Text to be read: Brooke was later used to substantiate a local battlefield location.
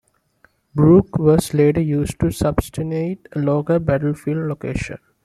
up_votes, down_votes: 0, 2